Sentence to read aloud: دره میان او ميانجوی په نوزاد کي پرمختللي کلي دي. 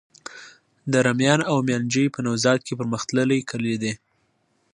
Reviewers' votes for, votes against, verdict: 2, 0, accepted